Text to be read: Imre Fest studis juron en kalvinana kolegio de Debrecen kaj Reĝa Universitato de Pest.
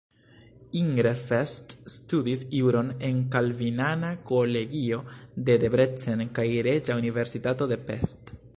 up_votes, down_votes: 1, 2